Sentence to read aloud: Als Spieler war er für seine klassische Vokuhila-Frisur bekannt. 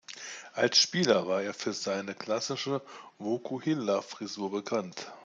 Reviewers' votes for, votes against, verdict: 2, 0, accepted